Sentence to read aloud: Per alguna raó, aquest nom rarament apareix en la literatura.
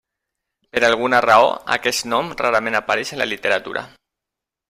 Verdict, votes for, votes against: accepted, 3, 0